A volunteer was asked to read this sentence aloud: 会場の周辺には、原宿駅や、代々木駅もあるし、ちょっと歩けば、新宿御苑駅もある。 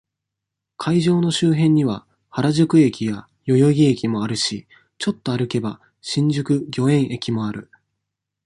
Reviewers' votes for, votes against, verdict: 2, 1, accepted